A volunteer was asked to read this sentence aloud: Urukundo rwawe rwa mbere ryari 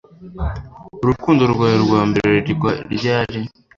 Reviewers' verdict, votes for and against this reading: rejected, 1, 2